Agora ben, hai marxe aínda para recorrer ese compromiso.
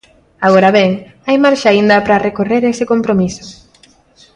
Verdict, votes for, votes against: accepted, 2, 1